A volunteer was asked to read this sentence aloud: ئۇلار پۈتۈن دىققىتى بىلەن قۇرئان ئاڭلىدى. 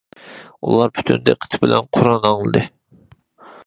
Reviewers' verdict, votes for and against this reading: accepted, 2, 0